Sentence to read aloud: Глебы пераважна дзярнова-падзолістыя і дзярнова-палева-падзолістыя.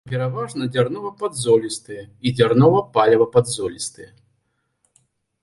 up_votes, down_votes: 0, 2